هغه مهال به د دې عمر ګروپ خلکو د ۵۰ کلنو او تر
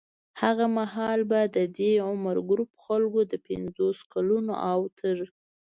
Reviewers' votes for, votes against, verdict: 0, 2, rejected